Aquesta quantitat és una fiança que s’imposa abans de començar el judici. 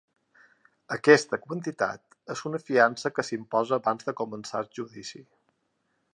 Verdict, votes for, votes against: accepted, 3, 0